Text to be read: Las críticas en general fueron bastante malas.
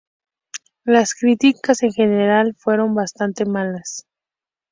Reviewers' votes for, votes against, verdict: 6, 0, accepted